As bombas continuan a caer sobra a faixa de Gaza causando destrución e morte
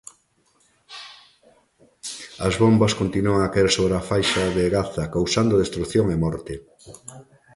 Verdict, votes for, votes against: accepted, 3, 0